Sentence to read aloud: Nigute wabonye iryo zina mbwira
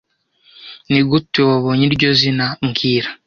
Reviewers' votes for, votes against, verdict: 2, 0, accepted